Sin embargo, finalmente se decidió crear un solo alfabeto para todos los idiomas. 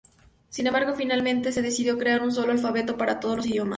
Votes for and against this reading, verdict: 0, 2, rejected